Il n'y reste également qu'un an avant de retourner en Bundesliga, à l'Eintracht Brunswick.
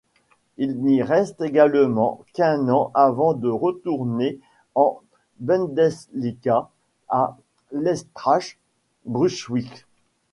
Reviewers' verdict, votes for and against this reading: rejected, 1, 2